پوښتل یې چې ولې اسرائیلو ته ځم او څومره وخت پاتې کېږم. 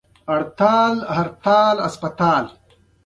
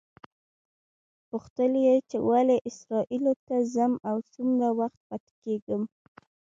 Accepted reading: first